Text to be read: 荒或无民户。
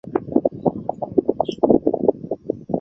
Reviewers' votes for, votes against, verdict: 2, 4, rejected